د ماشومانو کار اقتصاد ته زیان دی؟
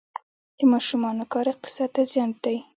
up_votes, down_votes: 2, 0